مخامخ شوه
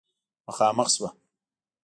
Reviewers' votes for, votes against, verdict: 2, 0, accepted